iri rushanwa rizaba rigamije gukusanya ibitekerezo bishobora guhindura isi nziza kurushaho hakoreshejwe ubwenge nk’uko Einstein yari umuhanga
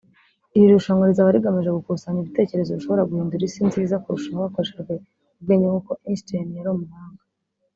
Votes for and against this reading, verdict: 2, 0, accepted